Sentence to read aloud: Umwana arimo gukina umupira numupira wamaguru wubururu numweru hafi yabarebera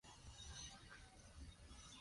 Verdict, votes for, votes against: rejected, 0, 2